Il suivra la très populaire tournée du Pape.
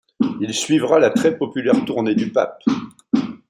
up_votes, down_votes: 2, 0